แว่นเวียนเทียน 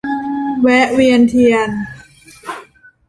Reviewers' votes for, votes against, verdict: 0, 2, rejected